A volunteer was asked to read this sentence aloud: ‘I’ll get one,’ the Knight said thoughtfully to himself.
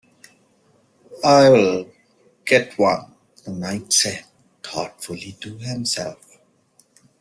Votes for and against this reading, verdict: 1, 2, rejected